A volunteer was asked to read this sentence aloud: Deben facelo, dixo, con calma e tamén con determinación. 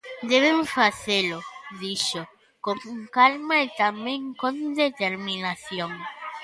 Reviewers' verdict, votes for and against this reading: rejected, 1, 2